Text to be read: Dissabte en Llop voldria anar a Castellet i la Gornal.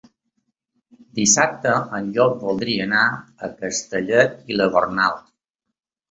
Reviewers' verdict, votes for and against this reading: accepted, 5, 0